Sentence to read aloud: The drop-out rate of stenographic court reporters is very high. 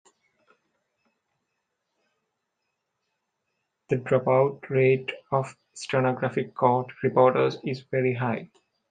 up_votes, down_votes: 2, 0